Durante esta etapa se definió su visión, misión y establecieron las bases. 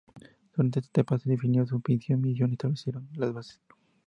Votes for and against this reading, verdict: 0, 2, rejected